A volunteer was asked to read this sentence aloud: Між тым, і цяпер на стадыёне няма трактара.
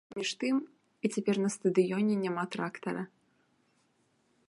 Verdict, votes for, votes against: accepted, 2, 0